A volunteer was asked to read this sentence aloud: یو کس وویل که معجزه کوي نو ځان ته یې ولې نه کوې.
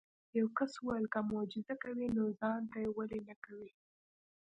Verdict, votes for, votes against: accepted, 2, 0